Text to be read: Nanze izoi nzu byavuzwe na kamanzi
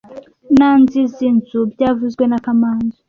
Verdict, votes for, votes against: rejected, 0, 2